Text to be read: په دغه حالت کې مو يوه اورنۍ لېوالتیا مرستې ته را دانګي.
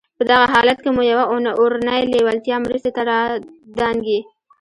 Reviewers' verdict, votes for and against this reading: accepted, 2, 0